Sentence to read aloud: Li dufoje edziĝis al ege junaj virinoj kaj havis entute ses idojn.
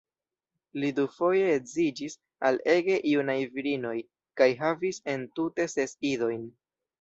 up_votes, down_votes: 2, 1